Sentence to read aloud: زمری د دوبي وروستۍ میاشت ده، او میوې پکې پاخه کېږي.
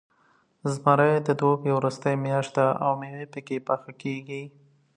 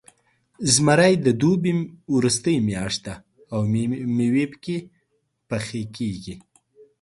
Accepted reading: first